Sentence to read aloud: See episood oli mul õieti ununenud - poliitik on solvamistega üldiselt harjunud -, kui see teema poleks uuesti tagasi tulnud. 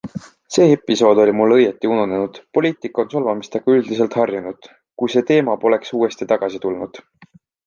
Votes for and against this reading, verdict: 2, 0, accepted